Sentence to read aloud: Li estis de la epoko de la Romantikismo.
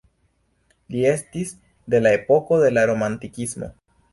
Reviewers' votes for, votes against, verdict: 1, 3, rejected